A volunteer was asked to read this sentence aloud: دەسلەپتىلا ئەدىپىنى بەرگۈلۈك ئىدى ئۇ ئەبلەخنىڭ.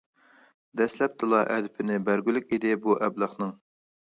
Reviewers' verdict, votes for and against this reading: rejected, 0, 2